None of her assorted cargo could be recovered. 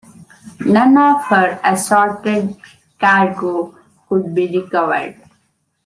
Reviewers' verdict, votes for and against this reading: rejected, 1, 2